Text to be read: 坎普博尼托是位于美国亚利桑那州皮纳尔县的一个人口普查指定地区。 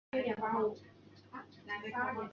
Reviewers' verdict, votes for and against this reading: accepted, 2, 1